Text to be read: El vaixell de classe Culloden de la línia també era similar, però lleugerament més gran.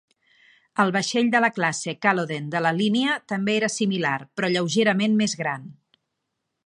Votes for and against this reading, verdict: 1, 2, rejected